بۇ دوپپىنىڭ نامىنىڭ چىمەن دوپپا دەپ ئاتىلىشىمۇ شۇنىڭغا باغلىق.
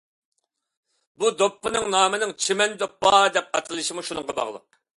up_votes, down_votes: 2, 0